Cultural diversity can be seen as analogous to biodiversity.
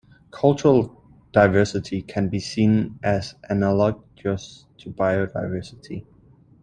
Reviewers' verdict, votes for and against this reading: rejected, 0, 2